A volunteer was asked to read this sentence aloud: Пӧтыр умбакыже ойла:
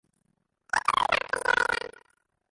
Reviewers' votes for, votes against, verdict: 0, 2, rejected